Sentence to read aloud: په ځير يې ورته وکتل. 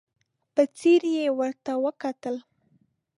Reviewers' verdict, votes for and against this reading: accepted, 2, 0